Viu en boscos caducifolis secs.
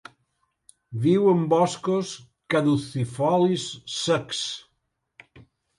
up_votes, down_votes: 2, 0